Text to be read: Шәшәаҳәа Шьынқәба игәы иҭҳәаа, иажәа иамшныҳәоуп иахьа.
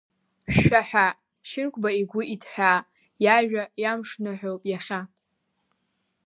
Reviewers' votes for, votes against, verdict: 2, 0, accepted